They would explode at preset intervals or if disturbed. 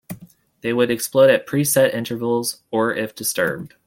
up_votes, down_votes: 2, 0